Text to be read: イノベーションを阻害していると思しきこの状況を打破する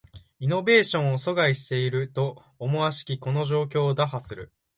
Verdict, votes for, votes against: accepted, 2, 0